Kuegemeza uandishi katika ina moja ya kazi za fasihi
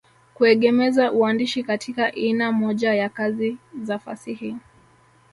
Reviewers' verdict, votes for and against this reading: rejected, 0, 2